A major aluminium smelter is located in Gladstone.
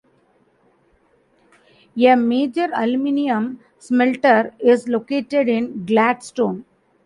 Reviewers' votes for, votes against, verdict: 0, 2, rejected